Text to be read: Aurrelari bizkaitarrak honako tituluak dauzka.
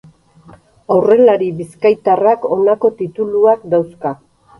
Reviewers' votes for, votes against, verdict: 2, 2, rejected